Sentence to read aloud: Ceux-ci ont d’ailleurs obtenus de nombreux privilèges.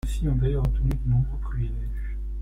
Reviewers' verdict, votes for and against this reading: rejected, 0, 2